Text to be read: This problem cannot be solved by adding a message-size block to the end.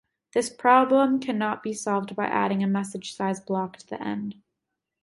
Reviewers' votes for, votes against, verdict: 1, 2, rejected